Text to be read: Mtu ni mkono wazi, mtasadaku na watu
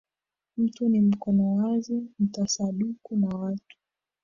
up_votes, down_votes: 0, 2